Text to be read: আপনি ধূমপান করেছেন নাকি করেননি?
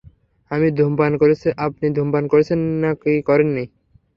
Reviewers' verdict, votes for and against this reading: rejected, 0, 3